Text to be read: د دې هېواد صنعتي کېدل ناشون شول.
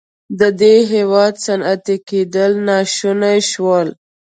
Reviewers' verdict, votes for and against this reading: accepted, 2, 1